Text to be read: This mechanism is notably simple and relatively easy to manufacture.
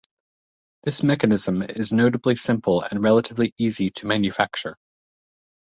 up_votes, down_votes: 2, 0